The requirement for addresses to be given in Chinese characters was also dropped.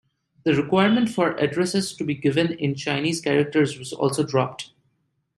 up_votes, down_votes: 2, 0